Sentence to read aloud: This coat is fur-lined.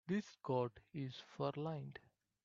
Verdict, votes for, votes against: accepted, 2, 0